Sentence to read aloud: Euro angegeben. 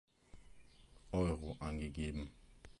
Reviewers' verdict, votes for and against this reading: rejected, 1, 2